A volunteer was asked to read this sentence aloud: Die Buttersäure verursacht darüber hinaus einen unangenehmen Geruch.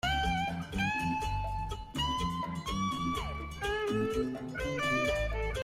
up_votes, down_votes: 0, 2